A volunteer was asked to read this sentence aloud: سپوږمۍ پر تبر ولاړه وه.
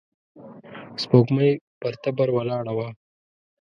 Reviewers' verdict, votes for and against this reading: rejected, 1, 2